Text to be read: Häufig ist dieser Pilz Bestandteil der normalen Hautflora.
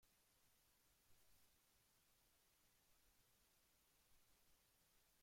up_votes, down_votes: 0, 2